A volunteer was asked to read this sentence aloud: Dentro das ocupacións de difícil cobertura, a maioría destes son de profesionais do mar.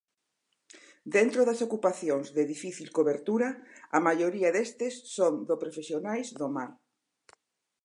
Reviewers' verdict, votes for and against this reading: rejected, 0, 4